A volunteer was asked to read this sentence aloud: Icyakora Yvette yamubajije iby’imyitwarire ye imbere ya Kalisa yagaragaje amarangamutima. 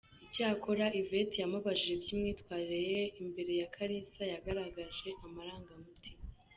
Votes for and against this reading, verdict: 3, 0, accepted